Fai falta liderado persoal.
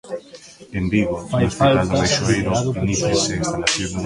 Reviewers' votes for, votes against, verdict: 0, 2, rejected